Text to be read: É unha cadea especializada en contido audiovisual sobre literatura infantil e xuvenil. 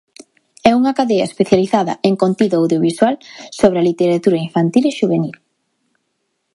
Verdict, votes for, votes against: rejected, 1, 2